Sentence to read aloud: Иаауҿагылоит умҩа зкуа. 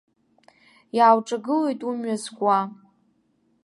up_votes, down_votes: 2, 0